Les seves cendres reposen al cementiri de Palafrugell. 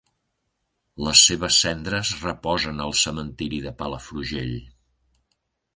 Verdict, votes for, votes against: accepted, 3, 0